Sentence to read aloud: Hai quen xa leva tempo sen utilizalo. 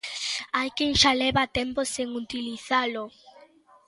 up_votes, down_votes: 2, 0